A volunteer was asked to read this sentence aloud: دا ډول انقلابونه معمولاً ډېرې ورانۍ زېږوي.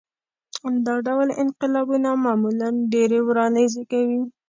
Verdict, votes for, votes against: accepted, 2, 0